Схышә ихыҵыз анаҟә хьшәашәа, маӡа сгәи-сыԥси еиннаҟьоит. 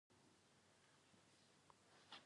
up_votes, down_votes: 0, 2